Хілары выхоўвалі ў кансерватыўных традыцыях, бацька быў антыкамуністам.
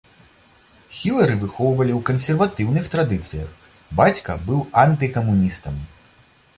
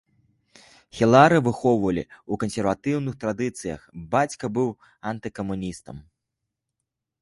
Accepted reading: first